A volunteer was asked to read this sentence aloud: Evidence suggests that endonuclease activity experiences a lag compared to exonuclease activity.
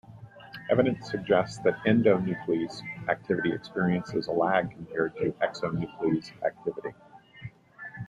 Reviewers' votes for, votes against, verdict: 1, 2, rejected